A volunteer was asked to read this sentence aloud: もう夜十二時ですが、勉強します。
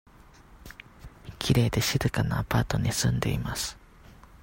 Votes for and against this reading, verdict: 0, 2, rejected